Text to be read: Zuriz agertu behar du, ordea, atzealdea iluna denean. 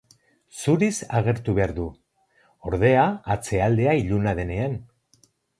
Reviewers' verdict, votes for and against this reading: accepted, 2, 0